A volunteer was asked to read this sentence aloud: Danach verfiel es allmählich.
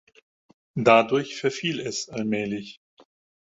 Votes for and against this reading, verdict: 0, 4, rejected